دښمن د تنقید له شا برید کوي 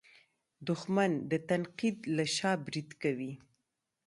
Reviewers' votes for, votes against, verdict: 1, 2, rejected